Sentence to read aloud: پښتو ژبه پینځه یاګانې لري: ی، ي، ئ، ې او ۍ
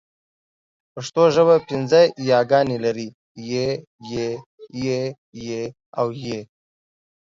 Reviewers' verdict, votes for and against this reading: rejected, 1, 2